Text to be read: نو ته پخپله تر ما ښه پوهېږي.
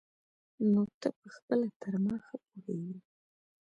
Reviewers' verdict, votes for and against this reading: accepted, 2, 1